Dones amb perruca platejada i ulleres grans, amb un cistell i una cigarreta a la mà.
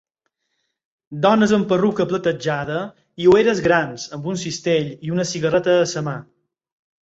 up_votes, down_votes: 0, 4